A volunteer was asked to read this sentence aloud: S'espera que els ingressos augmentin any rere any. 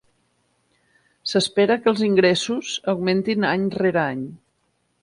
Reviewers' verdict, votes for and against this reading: accepted, 6, 0